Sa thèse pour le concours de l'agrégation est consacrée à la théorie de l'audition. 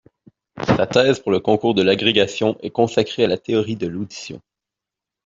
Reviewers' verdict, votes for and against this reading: accepted, 2, 0